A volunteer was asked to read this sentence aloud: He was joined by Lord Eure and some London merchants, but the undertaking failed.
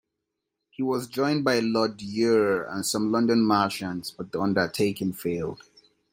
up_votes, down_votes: 2, 0